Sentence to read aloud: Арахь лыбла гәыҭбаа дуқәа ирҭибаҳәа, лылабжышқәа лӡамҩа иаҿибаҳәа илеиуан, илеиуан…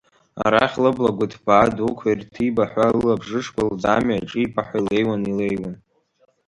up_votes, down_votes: 1, 2